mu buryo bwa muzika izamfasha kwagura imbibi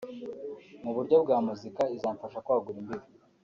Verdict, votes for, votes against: accepted, 3, 0